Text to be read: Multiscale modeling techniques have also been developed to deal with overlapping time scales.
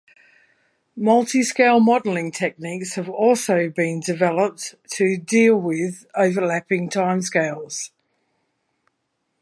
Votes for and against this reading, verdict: 2, 0, accepted